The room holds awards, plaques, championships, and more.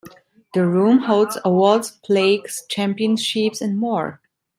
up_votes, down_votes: 0, 2